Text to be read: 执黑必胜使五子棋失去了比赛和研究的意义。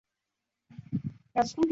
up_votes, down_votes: 1, 2